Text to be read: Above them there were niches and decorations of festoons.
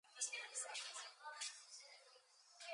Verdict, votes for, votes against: rejected, 0, 2